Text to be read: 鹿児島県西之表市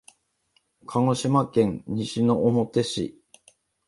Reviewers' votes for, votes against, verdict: 2, 0, accepted